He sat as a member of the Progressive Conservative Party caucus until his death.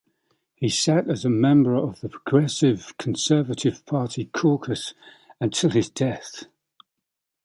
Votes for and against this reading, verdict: 2, 0, accepted